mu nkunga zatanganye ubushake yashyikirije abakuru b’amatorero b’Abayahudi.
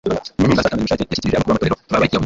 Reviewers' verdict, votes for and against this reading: rejected, 1, 2